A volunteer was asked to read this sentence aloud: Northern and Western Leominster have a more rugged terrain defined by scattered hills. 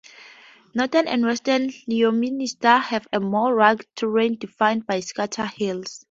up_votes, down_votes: 2, 4